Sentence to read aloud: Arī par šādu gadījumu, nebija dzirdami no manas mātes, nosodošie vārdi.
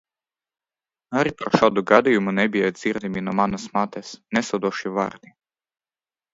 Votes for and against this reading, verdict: 1, 2, rejected